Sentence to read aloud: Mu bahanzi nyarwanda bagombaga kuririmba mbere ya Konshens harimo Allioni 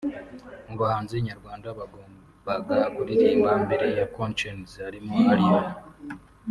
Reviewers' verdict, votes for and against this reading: accepted, 2, 0